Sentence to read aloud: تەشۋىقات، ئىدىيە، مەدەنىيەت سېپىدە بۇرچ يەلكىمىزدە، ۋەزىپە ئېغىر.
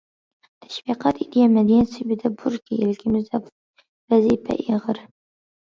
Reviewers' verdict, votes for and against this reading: rejected, 1, 2